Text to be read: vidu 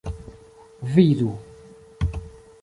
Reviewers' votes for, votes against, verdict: 2, 0, accepted